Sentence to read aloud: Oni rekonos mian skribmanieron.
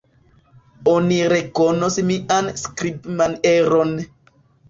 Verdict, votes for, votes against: rejected, 1, 3